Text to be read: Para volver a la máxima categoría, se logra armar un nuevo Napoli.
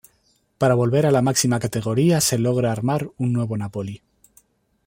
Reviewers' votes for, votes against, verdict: 2, 0, accepted